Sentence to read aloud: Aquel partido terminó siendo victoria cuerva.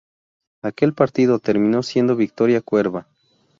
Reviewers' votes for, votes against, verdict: 2, 0, accepted